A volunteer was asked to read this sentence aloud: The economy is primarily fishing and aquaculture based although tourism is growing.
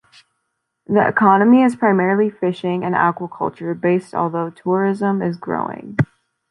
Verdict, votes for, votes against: accepted, 2, 0